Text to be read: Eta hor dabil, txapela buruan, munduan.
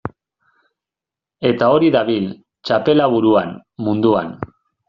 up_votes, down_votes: 0, 2